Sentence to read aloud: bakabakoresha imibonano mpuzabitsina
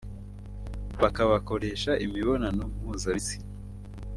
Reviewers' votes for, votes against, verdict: 2, 1, accepted